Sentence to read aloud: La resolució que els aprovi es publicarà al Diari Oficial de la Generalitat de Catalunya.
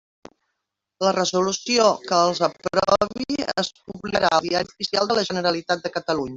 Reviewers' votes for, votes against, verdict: 0, 2, rejected